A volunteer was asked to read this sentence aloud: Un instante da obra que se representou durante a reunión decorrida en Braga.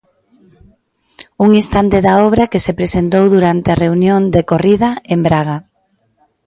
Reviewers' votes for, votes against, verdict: 0, 2, rejected